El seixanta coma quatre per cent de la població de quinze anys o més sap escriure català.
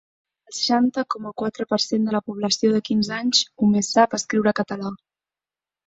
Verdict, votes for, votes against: rejected, 3, 6